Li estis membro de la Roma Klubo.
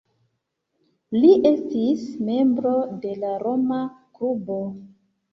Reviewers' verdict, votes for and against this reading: accepted, 2, 0